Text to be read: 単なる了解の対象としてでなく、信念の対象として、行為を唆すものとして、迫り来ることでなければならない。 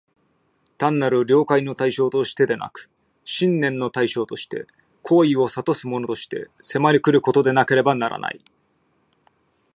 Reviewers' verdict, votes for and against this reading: accepted, 2, 1